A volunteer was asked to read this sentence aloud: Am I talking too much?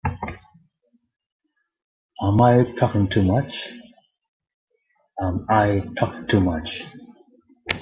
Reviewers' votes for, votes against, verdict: 1, 2, rejected